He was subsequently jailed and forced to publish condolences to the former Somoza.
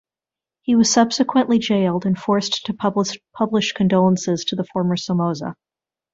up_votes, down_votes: 1, 2